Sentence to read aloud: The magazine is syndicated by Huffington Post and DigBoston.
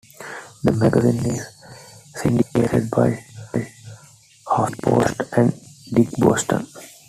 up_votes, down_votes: 0, 2